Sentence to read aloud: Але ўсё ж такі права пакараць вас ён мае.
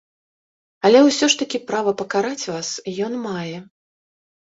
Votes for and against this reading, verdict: 2, 0, accepted